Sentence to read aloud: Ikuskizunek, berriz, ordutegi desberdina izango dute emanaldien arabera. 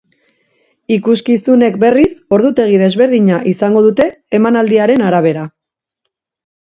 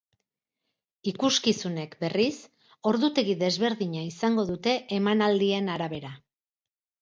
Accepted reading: second